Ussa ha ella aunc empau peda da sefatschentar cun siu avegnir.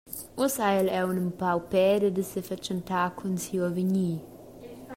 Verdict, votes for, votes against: accepted, 2, 1